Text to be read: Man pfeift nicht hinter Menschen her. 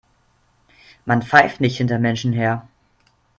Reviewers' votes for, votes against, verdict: 3, 0, accepted